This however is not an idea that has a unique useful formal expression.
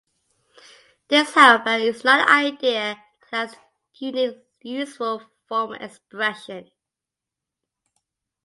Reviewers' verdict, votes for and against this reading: rejected, 0, 2